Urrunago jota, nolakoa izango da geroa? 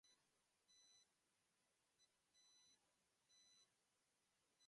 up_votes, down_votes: 0, 2